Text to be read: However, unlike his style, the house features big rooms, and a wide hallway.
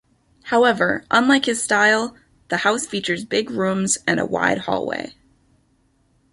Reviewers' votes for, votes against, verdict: 2, 0, accepted